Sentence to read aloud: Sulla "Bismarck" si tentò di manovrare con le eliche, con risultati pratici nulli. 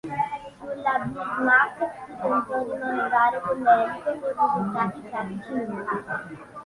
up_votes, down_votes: 0, 2